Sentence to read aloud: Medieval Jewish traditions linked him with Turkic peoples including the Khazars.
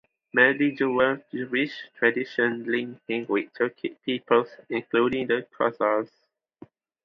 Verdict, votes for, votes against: rejected, 0, 2